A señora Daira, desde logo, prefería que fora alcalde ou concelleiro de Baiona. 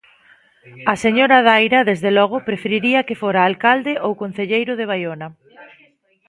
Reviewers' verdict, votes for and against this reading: rejected, 0, 2